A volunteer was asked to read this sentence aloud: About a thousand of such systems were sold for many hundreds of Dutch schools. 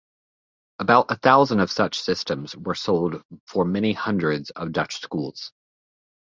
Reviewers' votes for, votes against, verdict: 2, 0, accepted